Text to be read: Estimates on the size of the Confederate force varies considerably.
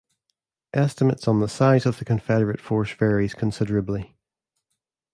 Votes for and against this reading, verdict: 2, 0, accepted